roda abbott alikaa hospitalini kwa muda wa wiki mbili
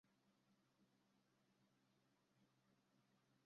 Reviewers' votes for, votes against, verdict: 0, 2, rejected